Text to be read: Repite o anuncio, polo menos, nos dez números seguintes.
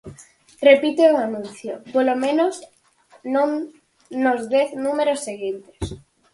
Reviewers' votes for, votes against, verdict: 0, 4, rejected